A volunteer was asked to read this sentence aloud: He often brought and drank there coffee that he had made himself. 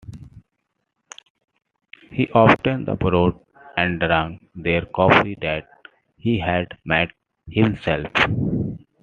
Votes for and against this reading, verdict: 1, 2, rejected